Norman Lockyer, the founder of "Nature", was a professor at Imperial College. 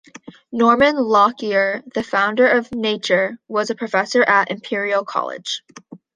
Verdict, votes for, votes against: accepted, 2, 0